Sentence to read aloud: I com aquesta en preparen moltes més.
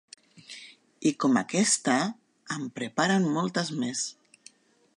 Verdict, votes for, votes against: accepted, 2, 0